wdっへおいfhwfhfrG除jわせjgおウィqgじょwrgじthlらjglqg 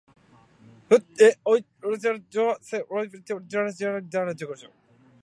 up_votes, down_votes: 2, 0